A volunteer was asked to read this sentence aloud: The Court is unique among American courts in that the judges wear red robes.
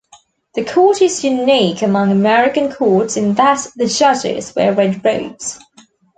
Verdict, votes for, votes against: accepted, 2, 0